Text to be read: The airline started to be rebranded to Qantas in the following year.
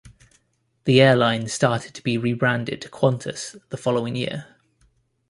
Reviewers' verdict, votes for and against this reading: rejected, 0, 2